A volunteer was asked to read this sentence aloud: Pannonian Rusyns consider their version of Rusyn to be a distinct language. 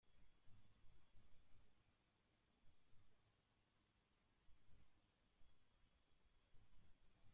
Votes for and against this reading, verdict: 0, 2, rejected